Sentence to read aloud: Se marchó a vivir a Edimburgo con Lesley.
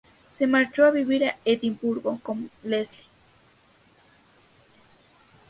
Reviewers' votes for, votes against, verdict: 2, 2, rejected